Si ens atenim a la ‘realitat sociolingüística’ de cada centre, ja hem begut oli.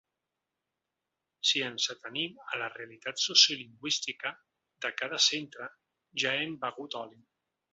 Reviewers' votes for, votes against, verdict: 2, 3, rejected